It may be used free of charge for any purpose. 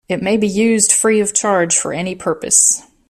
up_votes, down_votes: 2, 1